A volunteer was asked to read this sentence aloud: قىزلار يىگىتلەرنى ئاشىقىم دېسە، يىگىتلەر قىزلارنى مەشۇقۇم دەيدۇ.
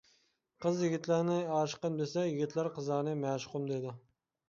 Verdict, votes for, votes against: rejected, 1, 2